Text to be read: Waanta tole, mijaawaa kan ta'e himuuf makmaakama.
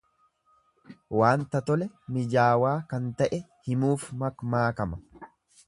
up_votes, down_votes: 2, 0